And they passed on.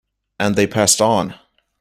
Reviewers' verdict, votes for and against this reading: accepted, 2, 0